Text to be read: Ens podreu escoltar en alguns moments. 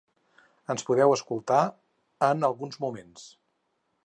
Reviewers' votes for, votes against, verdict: 2, 4, rejected